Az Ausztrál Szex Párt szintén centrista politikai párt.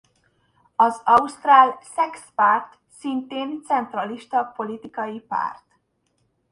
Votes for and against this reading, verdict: 0, 2, rejected